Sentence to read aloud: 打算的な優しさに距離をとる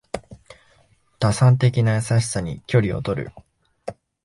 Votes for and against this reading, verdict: 2, 0, accepted